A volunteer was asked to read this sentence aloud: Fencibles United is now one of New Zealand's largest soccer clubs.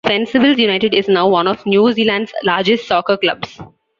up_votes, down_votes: 3, 0